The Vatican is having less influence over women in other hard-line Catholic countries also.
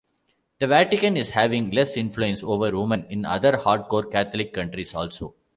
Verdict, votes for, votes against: rejected, 1, 2